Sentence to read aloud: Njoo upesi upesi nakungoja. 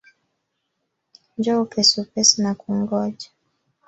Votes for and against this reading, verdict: 4, 1, accepted